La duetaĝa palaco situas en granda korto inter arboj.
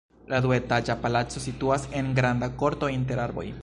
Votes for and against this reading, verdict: 2, 0, accepted